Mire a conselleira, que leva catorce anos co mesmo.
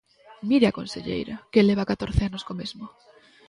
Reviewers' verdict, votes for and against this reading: rejected, 1, 2